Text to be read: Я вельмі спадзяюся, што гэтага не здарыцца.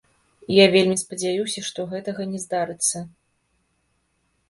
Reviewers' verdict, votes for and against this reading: rejected, 0, 2